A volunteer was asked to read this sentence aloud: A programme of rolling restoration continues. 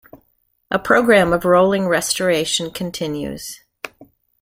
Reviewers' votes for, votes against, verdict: 3, 0, accepted